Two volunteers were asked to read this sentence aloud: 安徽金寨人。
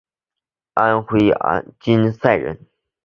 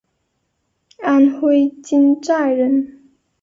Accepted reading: second